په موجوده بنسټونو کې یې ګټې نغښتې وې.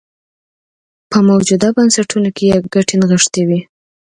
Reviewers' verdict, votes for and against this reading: accepted, 2, 0